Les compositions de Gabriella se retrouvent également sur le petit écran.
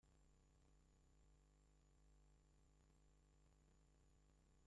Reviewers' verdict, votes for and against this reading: rejected, 0, 2